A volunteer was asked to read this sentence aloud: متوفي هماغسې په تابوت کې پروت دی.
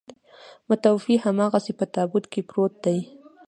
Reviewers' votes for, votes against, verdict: 1, 2, rejected